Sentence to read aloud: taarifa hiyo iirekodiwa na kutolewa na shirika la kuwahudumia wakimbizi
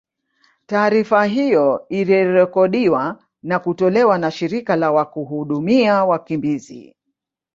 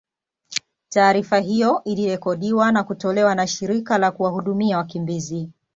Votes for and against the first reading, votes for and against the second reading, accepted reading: 0, 2, 2, 0, second